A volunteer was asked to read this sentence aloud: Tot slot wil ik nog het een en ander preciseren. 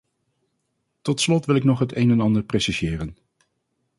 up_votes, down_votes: 0, 2